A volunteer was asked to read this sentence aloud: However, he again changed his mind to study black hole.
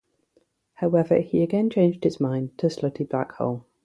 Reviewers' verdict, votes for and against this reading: rejected, 0, 3